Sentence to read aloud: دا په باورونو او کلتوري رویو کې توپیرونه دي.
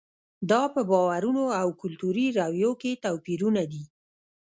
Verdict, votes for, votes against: rejected, 1, 2